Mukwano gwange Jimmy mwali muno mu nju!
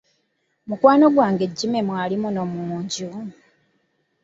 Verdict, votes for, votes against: rejected, 1, 2